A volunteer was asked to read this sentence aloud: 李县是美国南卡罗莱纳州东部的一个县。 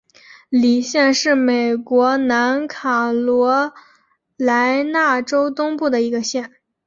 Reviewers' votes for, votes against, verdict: 2, 1, accepted